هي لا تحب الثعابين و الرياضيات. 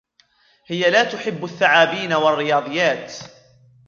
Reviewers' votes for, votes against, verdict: 2, 0, accepted